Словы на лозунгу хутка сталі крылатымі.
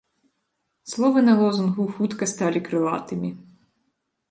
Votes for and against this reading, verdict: 2, 0, accepted